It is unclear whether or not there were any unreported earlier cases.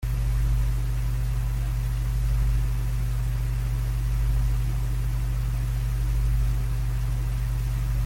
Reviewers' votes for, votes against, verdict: 0, 2, rejected